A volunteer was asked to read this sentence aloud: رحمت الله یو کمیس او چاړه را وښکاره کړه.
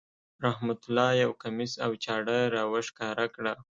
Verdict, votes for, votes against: accepted, 2, 0